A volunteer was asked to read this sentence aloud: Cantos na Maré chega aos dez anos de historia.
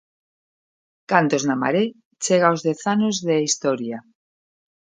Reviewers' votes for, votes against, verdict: 2, 0, accepted